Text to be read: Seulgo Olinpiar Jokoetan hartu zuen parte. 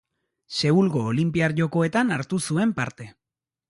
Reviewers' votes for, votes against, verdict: 2, 0, accepted